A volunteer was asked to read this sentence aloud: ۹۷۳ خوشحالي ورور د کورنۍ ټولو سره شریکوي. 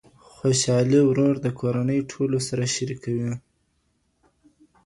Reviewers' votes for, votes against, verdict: 0, 2, rejected